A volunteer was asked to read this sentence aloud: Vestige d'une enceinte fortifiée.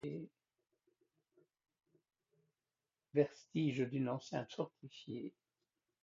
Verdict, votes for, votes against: rejected, 1, 2